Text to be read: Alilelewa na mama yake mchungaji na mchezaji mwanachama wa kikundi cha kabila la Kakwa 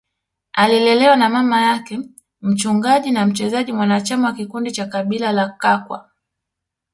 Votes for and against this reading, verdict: 1, 2, rejected